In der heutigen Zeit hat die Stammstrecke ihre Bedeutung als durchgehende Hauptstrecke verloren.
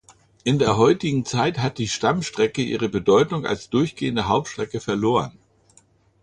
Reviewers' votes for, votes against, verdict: 2, 0, accepted